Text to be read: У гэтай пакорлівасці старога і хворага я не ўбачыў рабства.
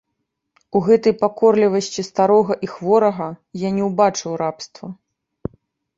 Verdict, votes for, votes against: rejected, 0, 2